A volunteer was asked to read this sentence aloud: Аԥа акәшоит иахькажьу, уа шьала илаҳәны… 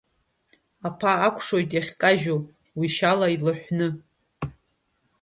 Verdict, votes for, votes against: rejected, 1, 2